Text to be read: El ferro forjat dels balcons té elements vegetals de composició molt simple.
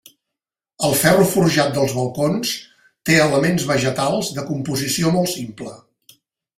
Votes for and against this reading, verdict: 3, 0, accepted